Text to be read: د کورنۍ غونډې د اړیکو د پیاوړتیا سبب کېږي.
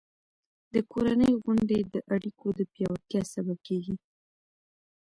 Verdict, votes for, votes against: accepted, 2, 0